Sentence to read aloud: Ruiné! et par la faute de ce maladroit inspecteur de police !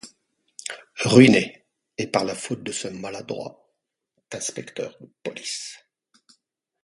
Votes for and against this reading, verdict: 2, 0, accepted